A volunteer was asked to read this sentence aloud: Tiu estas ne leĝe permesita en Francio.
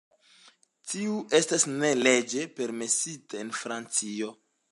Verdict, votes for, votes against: accepted, 2, 0